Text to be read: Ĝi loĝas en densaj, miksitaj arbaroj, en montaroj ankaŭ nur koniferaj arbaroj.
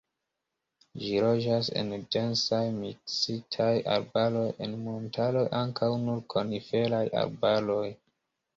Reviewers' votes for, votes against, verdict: 2, 1, accepted